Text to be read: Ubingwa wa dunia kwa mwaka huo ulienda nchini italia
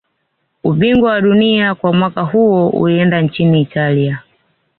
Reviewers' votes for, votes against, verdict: 2, 0, accepted